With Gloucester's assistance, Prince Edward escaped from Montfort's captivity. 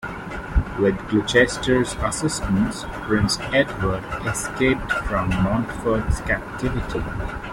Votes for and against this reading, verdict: 1, 2, rejected